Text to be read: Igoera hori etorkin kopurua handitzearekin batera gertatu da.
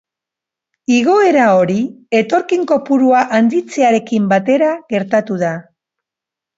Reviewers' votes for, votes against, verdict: 5, 1, accepted